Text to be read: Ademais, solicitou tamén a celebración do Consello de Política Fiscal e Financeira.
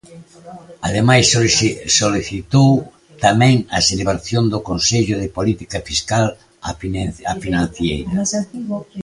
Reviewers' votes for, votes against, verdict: 0, 2, rejected